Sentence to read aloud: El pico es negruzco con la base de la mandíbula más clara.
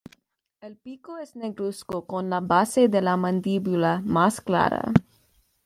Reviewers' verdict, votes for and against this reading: accepted, 2, 0